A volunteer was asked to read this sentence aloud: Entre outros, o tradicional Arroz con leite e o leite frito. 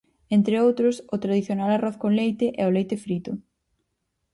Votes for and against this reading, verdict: 4, 0, accepted